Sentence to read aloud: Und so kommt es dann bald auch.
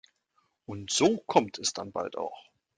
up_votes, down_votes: 2, 0